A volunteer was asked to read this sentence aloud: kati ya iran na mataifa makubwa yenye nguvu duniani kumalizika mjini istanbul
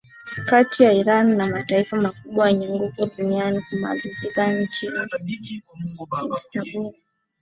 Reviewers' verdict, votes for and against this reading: accepted, 6, 2